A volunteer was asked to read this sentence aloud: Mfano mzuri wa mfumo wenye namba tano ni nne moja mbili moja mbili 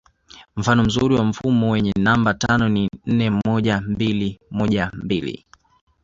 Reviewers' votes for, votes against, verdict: 2, 0, accepted